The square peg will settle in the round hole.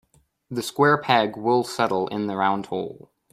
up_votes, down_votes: 2, 0